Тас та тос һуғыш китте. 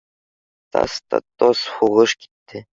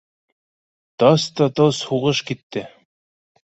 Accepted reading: first